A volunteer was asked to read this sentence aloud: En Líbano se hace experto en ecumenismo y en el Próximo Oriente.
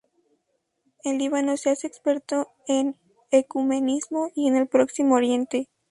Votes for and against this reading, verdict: 2, 0, accepted